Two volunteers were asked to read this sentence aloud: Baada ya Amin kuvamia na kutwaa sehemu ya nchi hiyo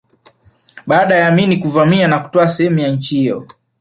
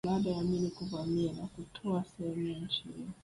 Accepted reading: first